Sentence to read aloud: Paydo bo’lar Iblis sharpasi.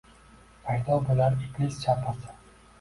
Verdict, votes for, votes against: rejected, 0, 2